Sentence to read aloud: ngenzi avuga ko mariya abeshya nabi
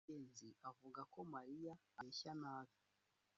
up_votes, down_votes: 1, 2